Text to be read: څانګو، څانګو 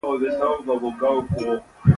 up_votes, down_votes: 1, 2